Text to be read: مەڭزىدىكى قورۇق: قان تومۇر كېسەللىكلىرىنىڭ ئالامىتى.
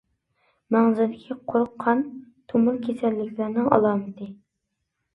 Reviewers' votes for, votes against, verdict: 0, 2, rejected